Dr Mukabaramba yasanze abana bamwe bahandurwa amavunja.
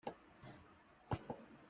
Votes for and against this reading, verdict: 0, 2, rejected